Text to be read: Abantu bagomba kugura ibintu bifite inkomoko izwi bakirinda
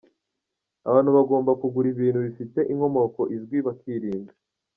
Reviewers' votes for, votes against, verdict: 1, 2, rejected